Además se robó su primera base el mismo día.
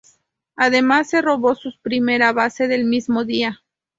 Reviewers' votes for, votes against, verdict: 0, 4, rejected